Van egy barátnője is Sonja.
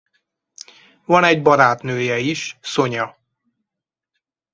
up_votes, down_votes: 4, 0